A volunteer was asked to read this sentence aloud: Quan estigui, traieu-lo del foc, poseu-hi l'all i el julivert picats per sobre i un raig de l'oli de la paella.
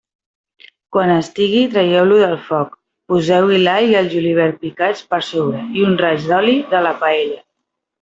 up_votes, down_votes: 2, 1